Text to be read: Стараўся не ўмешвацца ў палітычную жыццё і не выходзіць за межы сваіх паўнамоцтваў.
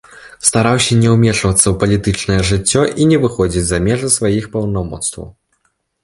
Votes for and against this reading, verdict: 2, 0, accepted